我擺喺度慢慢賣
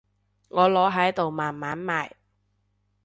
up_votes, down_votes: 0, 2